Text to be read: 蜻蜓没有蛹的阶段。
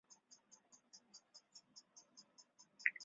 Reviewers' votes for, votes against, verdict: 0, 4, rejected